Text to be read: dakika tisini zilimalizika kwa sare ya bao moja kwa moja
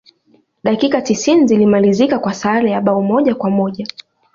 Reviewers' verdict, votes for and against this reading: rejected, 0, 2